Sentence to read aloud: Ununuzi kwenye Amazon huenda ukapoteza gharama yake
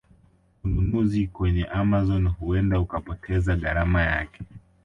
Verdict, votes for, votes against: accepted, 3, 1